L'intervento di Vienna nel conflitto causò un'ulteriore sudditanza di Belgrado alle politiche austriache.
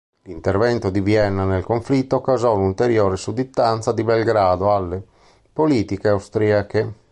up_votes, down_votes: 4, 0